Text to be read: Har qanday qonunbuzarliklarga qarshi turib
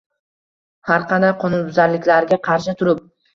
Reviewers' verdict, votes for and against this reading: rejected, 1, 2